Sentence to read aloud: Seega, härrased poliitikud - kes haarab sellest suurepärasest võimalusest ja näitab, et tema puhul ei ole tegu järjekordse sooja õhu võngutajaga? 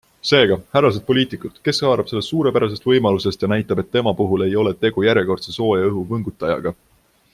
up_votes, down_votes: 2, 0